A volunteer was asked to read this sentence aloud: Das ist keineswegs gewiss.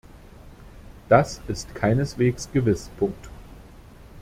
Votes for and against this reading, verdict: 0, 2, rejected